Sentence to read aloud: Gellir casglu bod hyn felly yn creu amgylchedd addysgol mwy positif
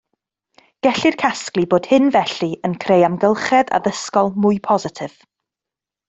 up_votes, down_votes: 2, 0